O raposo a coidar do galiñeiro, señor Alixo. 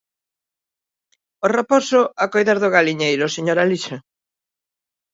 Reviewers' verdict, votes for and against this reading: accepted, 2, 0